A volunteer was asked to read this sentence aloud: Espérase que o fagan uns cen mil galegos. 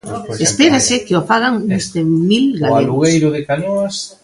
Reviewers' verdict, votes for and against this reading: rejected, 0, 2